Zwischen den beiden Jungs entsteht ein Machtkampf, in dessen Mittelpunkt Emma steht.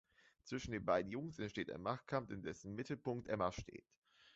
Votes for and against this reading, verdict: 2, 0, accepted